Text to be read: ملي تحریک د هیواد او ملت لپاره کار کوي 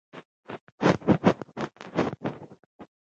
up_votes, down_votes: 0, 2